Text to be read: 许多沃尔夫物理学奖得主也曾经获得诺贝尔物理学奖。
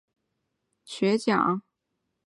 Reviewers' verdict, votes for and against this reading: rejected, 0, 3